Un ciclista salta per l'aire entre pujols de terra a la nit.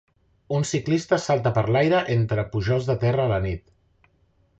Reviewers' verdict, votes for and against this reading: accepted, 4, 0